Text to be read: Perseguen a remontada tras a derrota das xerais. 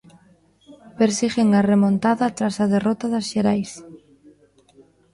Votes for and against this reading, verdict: 0, 2, rejected